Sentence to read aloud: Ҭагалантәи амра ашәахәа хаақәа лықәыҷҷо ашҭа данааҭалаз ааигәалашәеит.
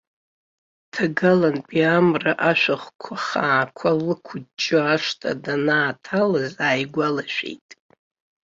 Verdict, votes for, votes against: rejected, 1, 2